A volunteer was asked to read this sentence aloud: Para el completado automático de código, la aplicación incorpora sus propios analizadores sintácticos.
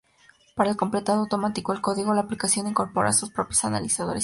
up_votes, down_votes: 0, 2